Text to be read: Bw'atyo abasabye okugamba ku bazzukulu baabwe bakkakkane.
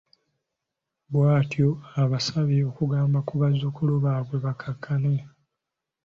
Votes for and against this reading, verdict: 2, 0, accepted